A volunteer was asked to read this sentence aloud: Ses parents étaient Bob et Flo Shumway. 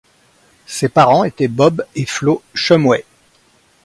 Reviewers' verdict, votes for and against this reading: accepted, 2, 0